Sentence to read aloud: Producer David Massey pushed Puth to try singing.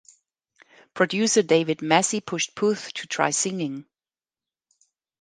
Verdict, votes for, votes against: accepted, 2, 0